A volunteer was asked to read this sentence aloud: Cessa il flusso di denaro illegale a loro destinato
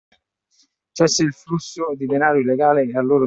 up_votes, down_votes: 0, 2